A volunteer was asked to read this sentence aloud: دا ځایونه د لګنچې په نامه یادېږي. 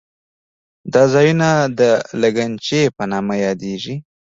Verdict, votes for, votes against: accepted, 2, 0